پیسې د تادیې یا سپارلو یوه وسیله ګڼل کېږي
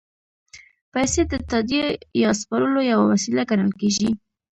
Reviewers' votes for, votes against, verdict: 2, 0, accepted